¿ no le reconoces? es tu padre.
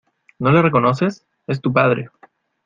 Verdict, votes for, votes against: accepted, 2, 0